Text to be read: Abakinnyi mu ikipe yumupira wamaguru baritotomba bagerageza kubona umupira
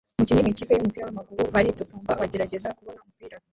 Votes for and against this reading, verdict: 0, 2, rejected